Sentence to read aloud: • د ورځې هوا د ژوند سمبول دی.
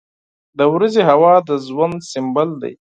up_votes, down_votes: 4, 0